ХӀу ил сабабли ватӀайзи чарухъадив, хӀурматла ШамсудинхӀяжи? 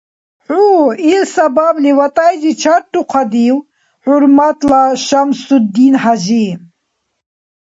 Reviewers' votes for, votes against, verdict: 1, 2, rejected